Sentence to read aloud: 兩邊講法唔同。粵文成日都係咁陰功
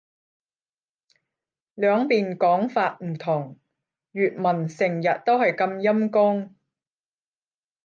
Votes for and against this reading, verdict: 10, 0, accepted